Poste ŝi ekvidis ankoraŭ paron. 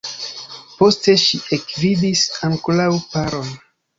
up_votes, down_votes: 1, 2